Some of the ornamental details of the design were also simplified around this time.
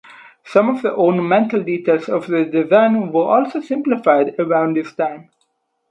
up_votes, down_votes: 4, 0